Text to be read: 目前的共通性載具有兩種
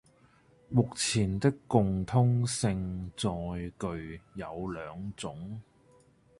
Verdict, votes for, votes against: rejected, 0, 2